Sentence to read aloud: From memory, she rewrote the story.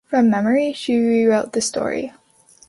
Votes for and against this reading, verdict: 2, 0, accepted